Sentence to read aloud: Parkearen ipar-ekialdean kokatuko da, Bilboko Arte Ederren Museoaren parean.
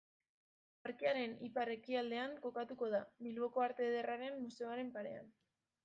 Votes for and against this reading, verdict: 0, 2, rejected